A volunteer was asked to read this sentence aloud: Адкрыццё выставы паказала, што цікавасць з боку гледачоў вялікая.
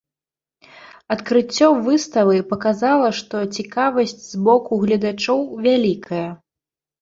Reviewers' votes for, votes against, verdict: 1, 2, rejected